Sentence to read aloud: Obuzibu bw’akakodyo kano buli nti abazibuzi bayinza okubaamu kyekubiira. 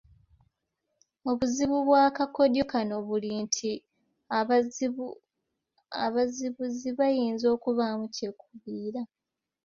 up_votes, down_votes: 0, 2